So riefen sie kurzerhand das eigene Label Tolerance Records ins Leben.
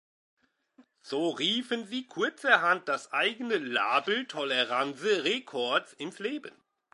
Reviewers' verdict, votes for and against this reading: rejected, 1, 2